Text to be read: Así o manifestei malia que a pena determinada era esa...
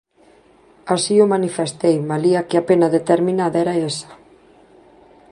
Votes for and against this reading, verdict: 0, 2, rejected